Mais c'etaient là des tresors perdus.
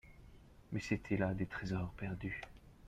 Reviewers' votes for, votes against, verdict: 3, 0, accepted